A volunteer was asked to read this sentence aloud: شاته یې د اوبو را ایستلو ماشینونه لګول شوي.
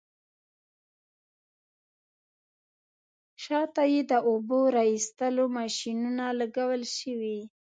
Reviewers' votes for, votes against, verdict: 1, 2, rejected